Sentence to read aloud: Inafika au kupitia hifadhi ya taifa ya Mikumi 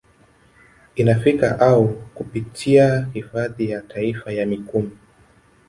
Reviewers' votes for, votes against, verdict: 3, 0, accepted